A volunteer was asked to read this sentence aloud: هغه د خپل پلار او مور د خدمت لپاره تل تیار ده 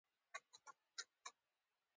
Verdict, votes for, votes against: accepted, 2, 0